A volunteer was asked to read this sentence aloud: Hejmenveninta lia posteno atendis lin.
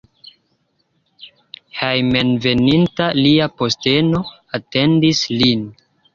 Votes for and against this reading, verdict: 2, 0, accepted